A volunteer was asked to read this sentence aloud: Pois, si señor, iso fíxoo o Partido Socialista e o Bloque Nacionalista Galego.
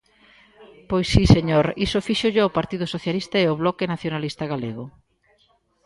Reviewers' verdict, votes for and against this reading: rejected, 0, 2